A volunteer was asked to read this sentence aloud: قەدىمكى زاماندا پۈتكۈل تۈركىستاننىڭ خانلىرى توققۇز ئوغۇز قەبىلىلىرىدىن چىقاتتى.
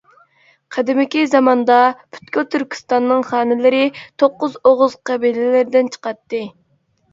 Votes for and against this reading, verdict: 1, 2, rejected